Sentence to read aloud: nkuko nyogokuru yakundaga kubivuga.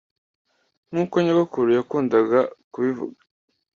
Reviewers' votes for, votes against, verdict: 2, 0, accepted